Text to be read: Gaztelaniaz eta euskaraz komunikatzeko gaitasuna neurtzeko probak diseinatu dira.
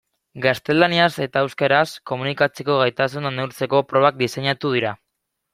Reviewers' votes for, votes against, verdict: 2, 0, accepted